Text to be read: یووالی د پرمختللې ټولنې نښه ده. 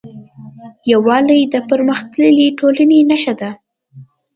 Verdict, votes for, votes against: accepted, 2, 0